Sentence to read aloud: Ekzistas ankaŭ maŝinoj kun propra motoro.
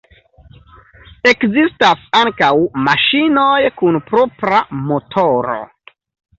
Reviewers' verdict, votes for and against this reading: accepted, 2, 0